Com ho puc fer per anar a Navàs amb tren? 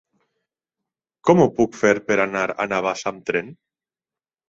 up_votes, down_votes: 4, 0